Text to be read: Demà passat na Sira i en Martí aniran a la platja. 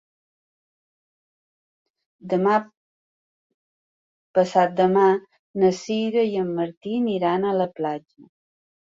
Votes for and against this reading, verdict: 0, 2, rejected